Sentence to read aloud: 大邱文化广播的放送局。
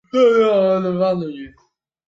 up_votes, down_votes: 0, 2